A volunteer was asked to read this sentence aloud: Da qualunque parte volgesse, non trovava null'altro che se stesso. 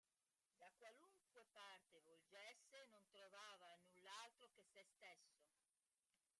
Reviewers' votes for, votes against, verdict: 0, 2, rejected